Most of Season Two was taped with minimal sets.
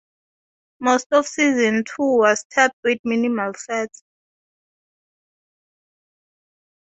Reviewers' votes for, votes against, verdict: 2, 0, accepted